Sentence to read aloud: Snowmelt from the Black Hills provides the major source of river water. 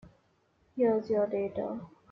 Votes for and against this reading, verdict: 0, 2, rejected